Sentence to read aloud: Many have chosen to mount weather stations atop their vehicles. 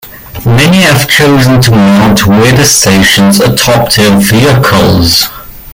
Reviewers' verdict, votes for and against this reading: rejected, 1, 2